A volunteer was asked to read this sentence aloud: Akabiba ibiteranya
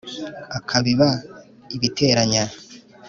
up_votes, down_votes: 2, 0